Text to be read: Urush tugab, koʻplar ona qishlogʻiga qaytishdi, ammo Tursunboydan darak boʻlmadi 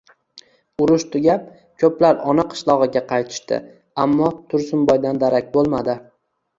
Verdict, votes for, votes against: rejected, 1, 2